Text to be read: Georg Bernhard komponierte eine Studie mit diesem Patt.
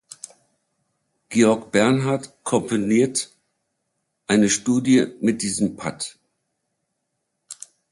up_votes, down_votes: 0, 2